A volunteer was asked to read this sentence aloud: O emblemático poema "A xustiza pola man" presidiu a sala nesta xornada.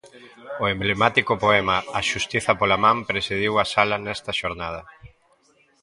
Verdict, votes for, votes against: accepted, 2, 0